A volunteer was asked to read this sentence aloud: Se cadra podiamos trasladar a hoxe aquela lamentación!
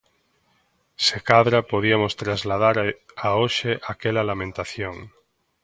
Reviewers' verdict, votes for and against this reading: rejected, 0, 2